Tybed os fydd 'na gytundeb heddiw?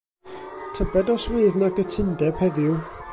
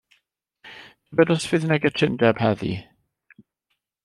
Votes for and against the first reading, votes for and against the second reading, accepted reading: 2, 1, 1, 2, first